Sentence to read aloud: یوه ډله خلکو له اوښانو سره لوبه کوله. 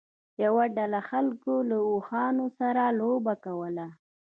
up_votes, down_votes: 2, 0